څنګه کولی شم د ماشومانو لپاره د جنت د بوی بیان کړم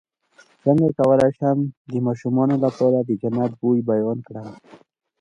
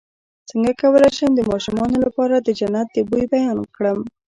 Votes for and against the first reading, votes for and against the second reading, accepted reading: 2, 0, 1, 2, first